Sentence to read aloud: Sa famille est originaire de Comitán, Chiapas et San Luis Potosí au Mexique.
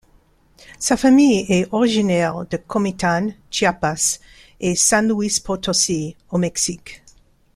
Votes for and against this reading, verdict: 2, 0, accepted